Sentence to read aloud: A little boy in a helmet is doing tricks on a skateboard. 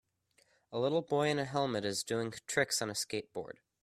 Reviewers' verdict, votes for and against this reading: accepted, 2, 0